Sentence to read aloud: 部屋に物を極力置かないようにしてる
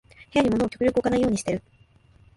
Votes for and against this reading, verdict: 0, 2, rejected